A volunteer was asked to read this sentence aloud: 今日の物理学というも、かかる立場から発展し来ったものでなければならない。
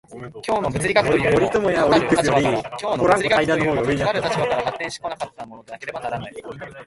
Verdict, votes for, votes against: rejected, 1, 2